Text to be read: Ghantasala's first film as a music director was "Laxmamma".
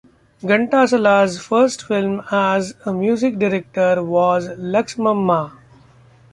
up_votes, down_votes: 2, 0